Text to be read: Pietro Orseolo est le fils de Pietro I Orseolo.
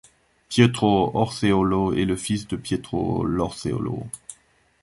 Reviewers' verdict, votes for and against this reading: accepted, 2, 0